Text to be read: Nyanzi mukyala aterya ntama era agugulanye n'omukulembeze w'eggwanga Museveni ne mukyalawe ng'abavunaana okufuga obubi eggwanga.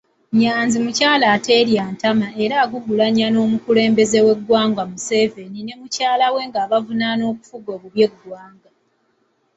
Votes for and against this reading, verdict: 2, 0, accepted